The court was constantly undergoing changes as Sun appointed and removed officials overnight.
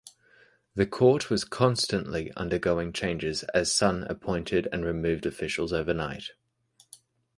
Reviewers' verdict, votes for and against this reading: accepted, 4, 0